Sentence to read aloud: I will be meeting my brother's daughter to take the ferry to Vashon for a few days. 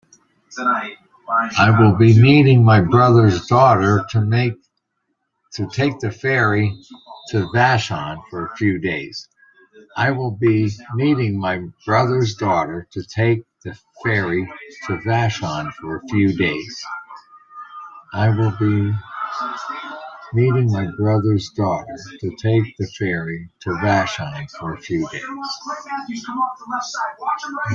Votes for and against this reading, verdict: 0, 2, rejected